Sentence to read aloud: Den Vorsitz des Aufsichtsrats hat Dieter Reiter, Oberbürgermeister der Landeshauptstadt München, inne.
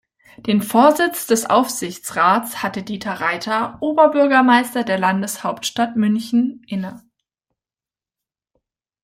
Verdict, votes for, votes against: accepted, 2, 0